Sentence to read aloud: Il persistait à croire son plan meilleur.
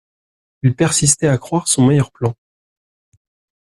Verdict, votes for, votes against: rejected, 0, 2